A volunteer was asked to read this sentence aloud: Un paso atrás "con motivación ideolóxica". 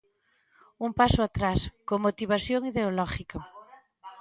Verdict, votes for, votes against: rejected, 0, 3